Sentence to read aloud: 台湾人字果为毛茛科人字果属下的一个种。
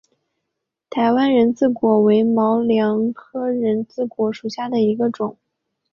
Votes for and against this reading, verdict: 1, 2, rejected